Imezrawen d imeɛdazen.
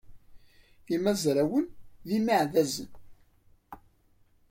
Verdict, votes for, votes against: rejected, 1, 2